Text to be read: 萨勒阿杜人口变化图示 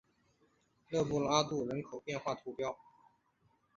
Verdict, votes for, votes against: rejected, 0, 3